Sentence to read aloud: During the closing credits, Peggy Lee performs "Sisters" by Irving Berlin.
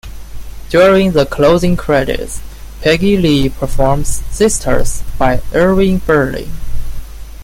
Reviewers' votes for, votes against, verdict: 2, 0, accepted